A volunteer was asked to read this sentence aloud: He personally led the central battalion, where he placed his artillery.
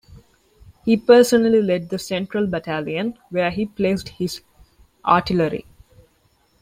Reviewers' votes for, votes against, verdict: 2, 0, accepted